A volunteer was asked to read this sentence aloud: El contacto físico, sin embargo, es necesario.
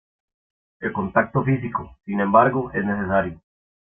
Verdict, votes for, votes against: accepted, 2, 0